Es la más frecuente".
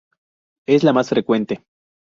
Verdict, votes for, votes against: accepted, 2, 0